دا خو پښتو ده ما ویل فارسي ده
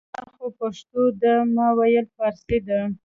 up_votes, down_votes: 2, 0